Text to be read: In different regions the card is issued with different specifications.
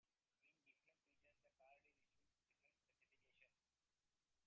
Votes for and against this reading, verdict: 0, 2, rejected